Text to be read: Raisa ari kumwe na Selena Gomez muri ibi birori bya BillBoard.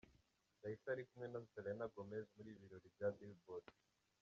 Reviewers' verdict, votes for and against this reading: rejected, 0, 2